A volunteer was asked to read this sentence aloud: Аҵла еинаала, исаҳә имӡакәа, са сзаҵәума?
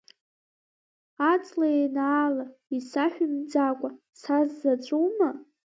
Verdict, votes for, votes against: rejected, 0, 2